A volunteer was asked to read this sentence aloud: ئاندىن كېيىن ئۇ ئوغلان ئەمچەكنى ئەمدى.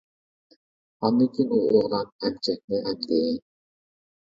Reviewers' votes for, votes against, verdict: 0, 2, rejected